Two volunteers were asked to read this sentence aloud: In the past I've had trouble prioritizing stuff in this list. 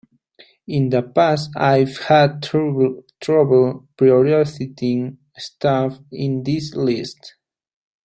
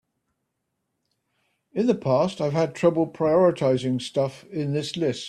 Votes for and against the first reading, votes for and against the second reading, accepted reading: 0, 3, 2, 0, second